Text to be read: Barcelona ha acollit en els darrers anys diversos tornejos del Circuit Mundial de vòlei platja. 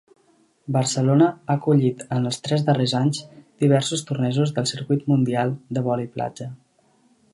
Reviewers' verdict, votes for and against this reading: rejected, 0, 2